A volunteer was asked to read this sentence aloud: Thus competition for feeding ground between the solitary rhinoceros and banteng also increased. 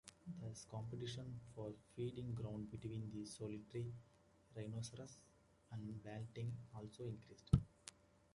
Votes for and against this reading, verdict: 0, 2, rejected